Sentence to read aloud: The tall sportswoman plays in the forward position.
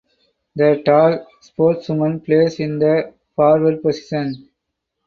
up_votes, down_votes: 6, 2